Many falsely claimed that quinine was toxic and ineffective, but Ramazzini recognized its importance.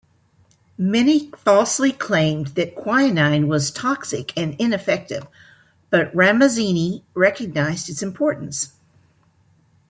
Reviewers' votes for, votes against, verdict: 1, 2, rejected